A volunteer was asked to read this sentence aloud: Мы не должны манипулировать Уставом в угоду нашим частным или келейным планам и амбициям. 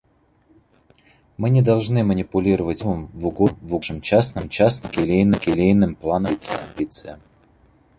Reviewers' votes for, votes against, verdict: 0, 2, rejected